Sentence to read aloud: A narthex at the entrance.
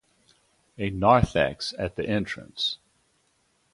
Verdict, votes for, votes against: accepted, 2, 0